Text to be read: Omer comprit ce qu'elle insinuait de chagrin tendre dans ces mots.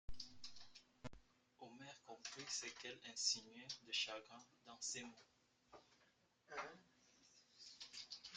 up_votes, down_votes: 0, 2